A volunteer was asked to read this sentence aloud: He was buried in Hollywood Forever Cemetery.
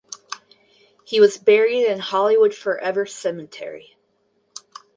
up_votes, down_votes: 0, 2